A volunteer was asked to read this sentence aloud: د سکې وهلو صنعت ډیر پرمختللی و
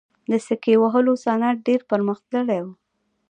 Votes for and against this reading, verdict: 1, 2, rejected